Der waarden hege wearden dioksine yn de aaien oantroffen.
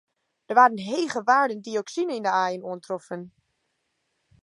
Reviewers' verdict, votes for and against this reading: rejected, 0, 2